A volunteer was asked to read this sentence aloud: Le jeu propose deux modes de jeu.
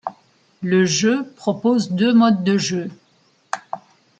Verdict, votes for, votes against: accepted, 3, 0